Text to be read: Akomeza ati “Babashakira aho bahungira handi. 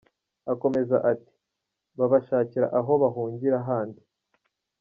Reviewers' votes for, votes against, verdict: 0, 2, rejected